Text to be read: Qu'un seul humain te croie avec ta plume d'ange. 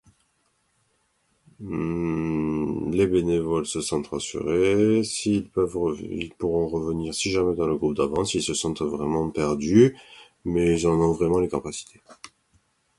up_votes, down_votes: 0, 2